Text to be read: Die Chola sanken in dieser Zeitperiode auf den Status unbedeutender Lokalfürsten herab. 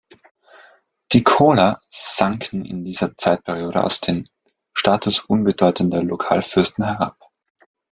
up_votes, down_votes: 0, 2